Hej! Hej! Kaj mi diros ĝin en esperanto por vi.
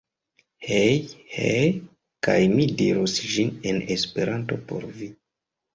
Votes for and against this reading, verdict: 0, 2, rejected